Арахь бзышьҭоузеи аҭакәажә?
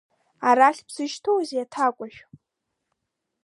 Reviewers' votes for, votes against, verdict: 2, 1, accepted